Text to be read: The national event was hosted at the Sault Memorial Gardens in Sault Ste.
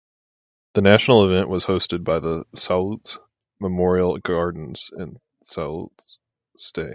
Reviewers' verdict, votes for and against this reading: rejected, 2, 2